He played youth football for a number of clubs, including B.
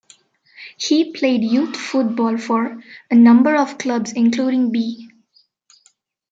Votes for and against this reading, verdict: 2, 1, accepted